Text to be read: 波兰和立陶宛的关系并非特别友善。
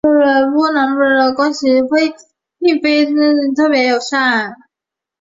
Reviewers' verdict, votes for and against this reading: rejected, 1, 3